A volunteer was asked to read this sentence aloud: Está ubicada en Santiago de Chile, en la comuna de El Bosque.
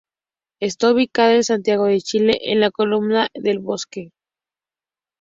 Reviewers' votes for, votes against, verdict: 2, 4, rejected